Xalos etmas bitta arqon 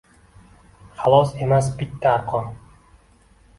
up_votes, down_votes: 1, 2